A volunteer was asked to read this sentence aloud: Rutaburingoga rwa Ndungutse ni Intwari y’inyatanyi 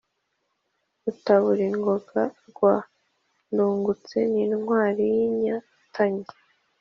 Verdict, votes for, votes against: accepted, 2, 0